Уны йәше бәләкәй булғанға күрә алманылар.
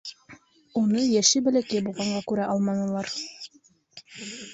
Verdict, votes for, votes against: rejected, 0, 2